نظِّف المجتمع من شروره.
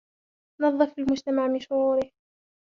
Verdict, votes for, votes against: accepted, 2, 1